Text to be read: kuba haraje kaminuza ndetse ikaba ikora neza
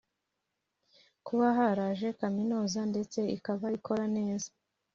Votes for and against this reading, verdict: 2, 0, accepted